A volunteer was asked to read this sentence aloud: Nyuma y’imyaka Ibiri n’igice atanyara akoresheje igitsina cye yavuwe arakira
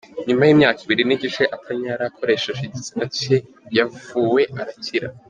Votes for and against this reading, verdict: 2, 0, accepted